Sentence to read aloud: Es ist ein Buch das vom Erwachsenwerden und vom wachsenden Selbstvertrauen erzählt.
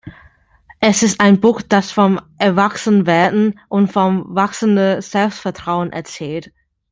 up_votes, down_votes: 2, 1